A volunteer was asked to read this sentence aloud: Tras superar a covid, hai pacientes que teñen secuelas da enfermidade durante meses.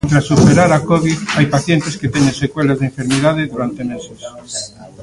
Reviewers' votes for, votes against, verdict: 2, 0, accepted